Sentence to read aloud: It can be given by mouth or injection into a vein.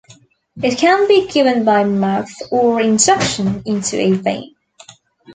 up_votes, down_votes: 2, 0